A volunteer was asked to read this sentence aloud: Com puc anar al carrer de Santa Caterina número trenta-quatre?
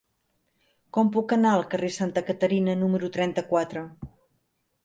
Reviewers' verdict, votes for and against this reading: rejected, 0, 2